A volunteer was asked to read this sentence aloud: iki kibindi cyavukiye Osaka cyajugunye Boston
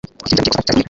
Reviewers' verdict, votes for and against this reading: rejected, 1, 2